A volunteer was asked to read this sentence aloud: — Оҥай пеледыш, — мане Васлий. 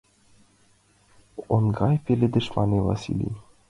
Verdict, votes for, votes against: rejected, 0, 2